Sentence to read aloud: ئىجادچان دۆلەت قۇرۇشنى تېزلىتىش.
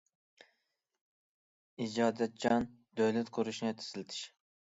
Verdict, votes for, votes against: rejected, 0, 2